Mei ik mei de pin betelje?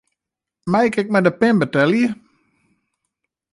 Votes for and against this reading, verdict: 0, 2, rejected